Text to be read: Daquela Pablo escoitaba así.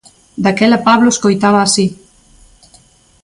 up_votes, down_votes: 2, 0